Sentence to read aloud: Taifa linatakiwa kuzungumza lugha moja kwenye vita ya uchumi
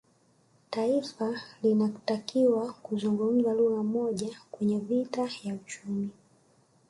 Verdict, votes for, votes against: accepted, 2, 0